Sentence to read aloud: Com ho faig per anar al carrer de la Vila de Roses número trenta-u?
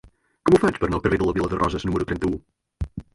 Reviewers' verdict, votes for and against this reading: rejected, 1, 2